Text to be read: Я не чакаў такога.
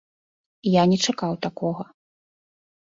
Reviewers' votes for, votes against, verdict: 2, 0, accepted